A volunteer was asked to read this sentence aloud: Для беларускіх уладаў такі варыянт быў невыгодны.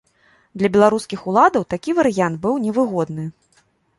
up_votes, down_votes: 2, 0